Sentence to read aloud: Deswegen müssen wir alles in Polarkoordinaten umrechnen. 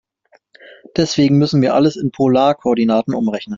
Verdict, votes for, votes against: accepted, 2, 0